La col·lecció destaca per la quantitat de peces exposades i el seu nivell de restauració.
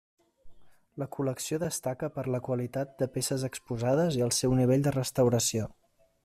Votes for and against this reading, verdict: 1, 2, rejected